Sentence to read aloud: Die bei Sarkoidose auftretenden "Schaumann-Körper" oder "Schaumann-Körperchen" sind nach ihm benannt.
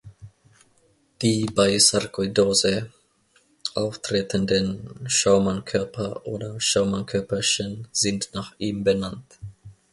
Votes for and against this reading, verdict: 2, 0, accepted